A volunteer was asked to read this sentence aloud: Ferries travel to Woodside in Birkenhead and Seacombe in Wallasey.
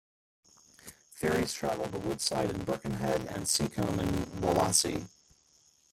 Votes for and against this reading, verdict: 1, 2, rejected